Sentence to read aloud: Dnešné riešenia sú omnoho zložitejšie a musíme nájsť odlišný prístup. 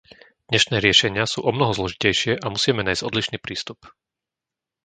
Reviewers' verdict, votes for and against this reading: accepted, 2, 0